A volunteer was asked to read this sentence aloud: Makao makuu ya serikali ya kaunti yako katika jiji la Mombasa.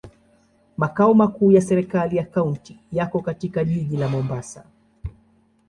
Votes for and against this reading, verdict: 2, 0, accepted